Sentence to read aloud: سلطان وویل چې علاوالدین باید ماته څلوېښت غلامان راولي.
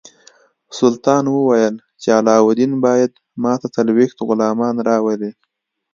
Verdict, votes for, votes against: accepted, 2, 0